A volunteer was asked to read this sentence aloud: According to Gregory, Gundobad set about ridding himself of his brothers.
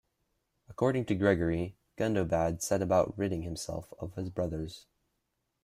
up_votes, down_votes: 2, 1